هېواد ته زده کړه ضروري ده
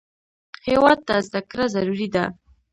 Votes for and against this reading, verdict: 1, 2, rejected